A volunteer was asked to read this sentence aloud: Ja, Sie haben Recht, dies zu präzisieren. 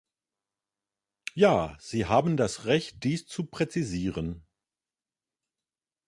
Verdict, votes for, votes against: rejected, 1, 2